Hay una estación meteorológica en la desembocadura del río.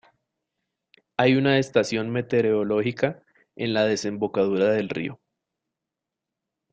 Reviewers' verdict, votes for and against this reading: rejected, 1, 2